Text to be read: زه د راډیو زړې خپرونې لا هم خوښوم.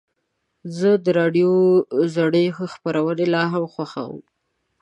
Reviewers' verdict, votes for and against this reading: accepted, 2, 0